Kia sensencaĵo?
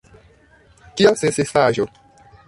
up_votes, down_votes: 0, 2